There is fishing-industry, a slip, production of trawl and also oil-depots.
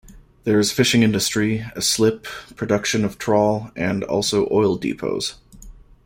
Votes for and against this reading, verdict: 2, 0, accepted